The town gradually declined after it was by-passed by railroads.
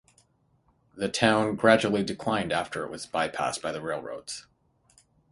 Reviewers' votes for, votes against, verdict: 0, 3, rejected